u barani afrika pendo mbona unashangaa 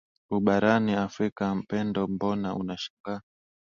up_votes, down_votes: 2, 0